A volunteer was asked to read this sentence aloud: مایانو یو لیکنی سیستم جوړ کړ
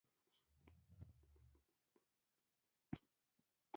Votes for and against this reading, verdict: 0, 2, rejected